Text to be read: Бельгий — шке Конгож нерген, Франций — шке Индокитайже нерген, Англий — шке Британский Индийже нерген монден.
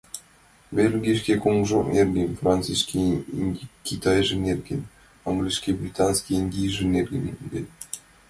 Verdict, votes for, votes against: rejected, 0, 2